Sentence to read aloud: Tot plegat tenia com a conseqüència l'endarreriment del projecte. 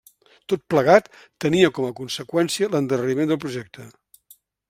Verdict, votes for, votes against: accepted, 2, 1